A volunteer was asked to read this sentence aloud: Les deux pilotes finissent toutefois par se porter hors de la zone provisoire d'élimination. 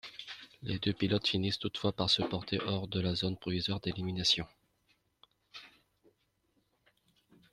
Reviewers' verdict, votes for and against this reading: accepted, 2, 0